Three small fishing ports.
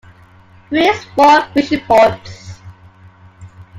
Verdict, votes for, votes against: rejected, 1, 2